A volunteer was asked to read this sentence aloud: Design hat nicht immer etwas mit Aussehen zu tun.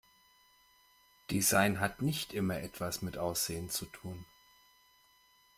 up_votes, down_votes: 2, 0